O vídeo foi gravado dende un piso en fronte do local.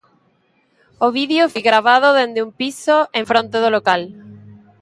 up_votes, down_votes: 2, 0